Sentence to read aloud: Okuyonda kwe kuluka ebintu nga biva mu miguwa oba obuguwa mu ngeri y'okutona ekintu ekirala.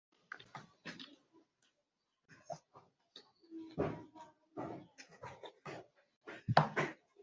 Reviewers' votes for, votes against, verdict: 0, 2, rejected